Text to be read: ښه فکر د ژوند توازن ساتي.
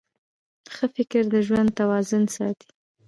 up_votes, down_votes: 0, 2